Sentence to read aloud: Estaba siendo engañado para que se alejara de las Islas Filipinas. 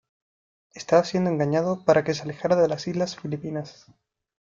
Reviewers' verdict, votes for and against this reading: rejected, 1, 2